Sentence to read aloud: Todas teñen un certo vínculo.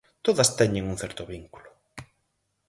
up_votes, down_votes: 4, 0